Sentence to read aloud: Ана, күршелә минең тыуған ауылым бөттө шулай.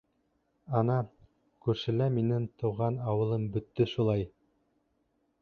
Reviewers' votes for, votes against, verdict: 1, 2, rejected